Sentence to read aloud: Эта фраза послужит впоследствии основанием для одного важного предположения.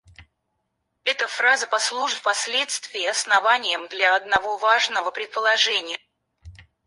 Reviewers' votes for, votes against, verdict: 2, 4, rejected